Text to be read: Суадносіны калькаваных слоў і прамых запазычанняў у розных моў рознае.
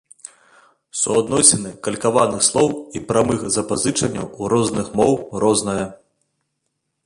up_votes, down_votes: 2, 0